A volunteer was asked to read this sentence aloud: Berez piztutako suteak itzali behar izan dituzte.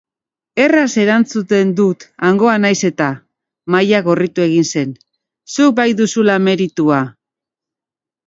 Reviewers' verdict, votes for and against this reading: rejected, 0, 3